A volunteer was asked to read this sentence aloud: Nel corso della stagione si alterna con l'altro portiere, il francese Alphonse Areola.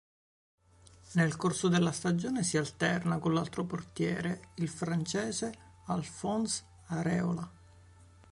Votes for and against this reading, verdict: 2, 0, accepted